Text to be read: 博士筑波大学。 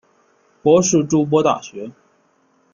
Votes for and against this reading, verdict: 0, 2, rejected